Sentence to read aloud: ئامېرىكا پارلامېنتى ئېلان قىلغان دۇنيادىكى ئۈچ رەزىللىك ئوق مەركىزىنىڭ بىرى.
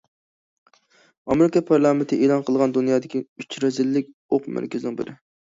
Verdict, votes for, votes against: accepted, 2, 0